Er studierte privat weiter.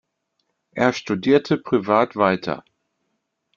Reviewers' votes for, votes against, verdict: 2, 0, accepted